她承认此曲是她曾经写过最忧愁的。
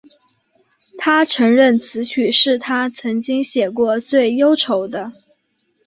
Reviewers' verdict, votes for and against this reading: accepted, 2, 0